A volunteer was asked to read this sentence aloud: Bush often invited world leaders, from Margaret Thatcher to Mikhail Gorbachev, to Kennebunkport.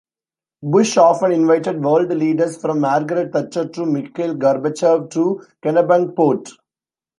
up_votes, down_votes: 2, 0